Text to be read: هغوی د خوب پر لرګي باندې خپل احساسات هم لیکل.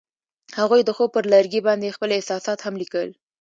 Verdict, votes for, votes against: accepted, 2, 0